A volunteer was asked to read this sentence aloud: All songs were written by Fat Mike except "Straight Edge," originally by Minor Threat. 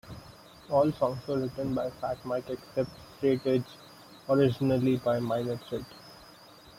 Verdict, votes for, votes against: rejected, 0, 2